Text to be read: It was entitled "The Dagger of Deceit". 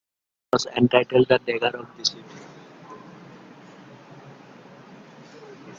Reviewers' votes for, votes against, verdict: 1, 2, rejected